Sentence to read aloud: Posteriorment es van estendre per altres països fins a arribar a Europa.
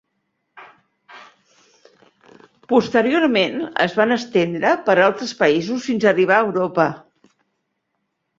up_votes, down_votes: 3, 0